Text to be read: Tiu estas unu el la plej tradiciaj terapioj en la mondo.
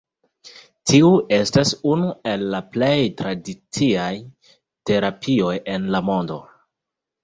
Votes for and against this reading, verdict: 2, 0, accepted